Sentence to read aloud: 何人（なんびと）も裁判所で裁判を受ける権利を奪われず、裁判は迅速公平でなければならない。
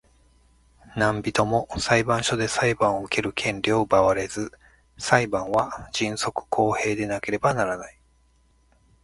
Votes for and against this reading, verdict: 1, 2, rejected